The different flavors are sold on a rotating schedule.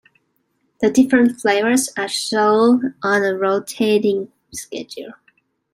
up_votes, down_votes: 2, 0